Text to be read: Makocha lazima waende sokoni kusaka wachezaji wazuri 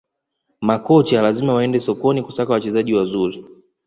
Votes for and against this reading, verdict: 2, 0, accepted